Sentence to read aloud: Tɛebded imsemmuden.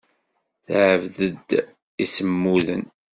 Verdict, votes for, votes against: rejected, 1, 2